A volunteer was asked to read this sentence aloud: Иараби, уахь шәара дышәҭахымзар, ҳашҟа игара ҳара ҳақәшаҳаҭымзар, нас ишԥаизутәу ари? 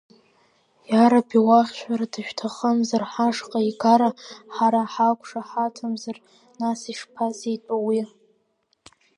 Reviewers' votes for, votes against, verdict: 0, 2, rejected